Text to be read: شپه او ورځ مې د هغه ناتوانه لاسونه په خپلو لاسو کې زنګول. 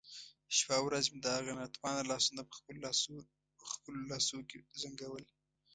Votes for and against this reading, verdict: 1, 2, rejected